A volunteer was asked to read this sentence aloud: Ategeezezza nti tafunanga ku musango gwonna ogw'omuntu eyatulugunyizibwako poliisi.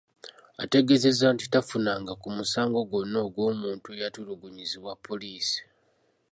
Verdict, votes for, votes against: rejected, 0, 2